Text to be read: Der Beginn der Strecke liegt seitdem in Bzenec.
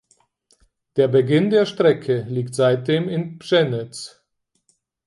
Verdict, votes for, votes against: rejected, 0, 4